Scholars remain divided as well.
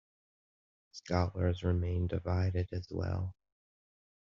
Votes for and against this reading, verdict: 2, 0, accepted